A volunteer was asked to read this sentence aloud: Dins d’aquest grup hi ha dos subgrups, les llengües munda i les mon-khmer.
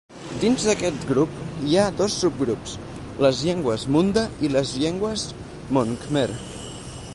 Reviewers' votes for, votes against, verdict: 2, 4, rejected